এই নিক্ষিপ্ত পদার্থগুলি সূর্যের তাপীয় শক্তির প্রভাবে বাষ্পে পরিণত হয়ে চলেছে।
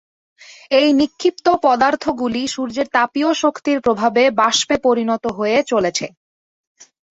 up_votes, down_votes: 2, 0